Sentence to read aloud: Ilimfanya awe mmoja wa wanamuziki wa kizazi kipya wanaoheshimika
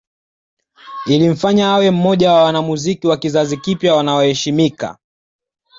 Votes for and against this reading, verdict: 2, 0, accepted